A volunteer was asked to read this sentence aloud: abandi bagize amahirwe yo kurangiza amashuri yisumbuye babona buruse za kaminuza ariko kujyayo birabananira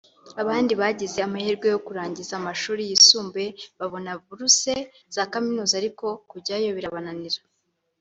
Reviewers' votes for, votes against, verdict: 2, 0, accepted